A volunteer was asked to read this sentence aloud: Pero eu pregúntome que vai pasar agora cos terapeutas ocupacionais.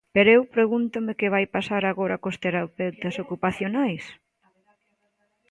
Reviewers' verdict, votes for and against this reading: accepted, 2, 0